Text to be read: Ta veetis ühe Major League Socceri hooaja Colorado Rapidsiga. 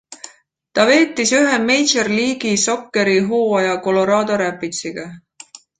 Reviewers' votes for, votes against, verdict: 0, 2, rejected